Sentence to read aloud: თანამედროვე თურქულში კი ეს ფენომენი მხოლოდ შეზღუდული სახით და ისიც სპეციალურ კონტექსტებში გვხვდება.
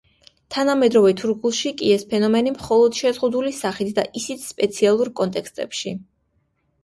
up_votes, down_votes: 0, 2